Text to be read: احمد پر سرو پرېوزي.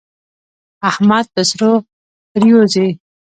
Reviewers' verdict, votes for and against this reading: rejected, 1, 2